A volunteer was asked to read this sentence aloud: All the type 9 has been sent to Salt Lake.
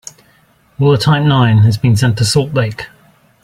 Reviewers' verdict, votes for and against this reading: rejected, 0, 2